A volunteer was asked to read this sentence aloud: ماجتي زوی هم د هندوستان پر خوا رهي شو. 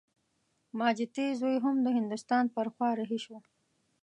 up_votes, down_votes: 2, 0